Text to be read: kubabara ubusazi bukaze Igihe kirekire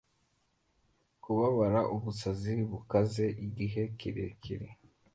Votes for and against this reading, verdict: 2, 0, accepted